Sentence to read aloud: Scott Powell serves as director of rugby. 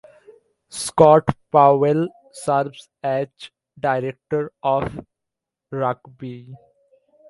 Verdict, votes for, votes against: accepted, 2, 1